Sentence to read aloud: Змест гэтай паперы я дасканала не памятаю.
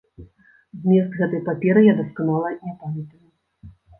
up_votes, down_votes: 1, 2